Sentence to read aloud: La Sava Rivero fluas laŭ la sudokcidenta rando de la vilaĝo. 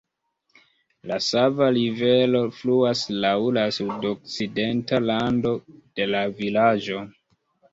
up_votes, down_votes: 1, 2